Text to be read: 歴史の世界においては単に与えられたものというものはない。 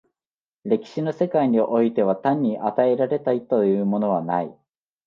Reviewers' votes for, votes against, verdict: 2, 2, rejected